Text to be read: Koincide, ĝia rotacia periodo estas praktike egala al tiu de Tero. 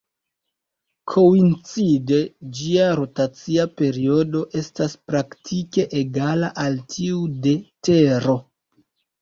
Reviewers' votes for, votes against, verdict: 1, 2, rejected